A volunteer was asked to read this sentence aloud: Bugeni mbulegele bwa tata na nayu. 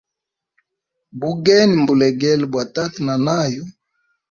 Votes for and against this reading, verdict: 2, 0, accepted